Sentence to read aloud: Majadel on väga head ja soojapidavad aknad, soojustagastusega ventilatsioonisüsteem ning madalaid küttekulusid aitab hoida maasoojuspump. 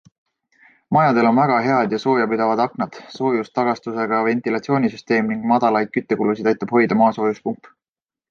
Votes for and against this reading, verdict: 2, 0, accepted